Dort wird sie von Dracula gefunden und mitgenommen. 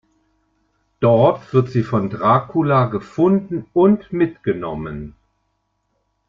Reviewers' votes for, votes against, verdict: 2, 0, accepted